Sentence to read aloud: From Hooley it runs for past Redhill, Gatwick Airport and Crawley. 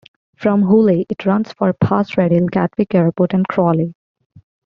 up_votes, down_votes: 0, 2